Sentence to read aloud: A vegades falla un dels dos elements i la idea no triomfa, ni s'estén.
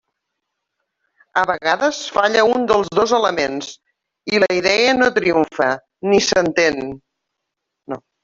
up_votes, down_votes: 0, 2